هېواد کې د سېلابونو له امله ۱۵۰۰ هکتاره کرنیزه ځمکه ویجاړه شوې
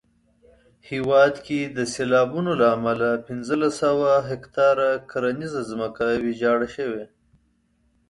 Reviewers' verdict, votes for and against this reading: rejected, 0, 2